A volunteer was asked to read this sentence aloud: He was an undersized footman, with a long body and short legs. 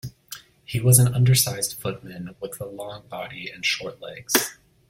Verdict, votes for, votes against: accepted, 2, 0